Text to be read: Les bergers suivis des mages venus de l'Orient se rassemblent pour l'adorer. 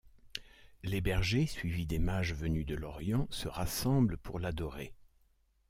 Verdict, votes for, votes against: accepted, 2, 0